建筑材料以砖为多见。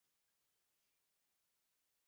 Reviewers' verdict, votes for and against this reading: rejected, 0, 4